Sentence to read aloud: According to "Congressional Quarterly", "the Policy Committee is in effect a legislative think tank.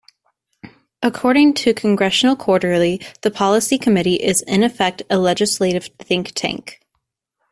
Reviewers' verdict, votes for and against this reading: accepted, 2, 0